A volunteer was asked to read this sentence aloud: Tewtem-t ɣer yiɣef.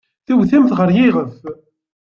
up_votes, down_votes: 2, 0